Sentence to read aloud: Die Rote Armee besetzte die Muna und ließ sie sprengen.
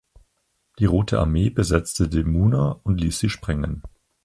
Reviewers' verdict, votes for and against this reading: accepted, 4, 2